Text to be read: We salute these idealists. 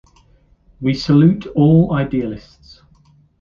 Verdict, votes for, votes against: rejected, 1, 2